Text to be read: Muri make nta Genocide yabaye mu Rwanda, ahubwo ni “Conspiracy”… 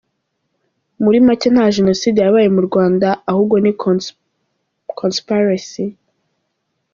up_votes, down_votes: 0, 2